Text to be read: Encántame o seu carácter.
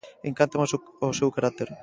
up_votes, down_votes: 0, 2